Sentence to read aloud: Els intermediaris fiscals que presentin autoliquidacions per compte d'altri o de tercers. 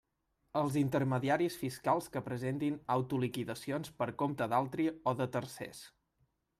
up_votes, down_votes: 3, 0